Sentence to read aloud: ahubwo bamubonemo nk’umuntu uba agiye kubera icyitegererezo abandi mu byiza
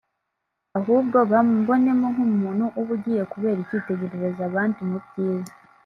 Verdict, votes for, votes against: rejected, 0, 2